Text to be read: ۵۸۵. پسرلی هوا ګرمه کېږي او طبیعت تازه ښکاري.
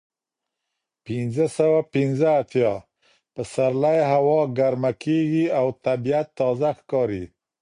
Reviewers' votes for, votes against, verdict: 0, 2, rejected